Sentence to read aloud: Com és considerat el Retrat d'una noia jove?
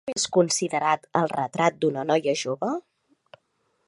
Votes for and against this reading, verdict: 2, 3, rejected